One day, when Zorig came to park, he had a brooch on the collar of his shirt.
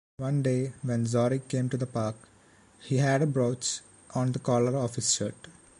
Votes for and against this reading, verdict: 0, 2, rejected